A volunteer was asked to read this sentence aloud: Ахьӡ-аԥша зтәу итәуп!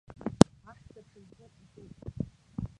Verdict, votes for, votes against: rejected, 0, 2